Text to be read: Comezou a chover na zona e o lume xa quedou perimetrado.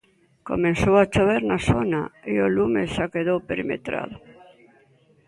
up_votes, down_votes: 2, 0